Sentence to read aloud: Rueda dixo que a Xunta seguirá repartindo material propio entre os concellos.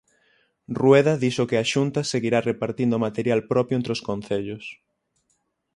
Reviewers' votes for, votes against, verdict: 6, 0, accepted